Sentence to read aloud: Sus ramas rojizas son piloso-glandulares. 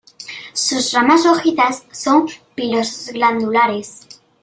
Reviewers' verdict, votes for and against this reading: rejected, 1, 2